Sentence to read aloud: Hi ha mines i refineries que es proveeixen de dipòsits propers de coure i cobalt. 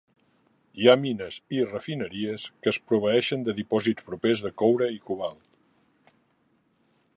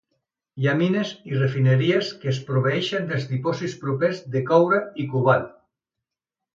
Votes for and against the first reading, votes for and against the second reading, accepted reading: 2, 0, 1, 2, first